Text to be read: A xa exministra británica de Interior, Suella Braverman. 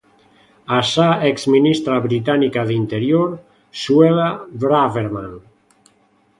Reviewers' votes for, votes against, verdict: 2, 0, accepted